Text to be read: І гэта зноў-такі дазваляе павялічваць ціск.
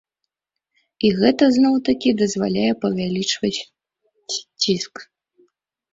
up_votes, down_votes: 2, 1